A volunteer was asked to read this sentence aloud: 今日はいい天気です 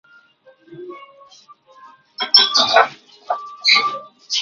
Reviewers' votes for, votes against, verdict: 0, 2, rejected